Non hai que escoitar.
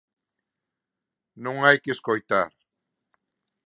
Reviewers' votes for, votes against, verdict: 2, 0, accepted